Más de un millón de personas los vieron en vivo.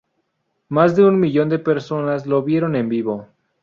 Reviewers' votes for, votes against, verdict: 0, 2, rejected